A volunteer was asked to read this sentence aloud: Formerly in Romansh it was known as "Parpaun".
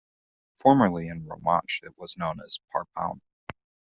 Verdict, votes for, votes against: accepted, 2, 0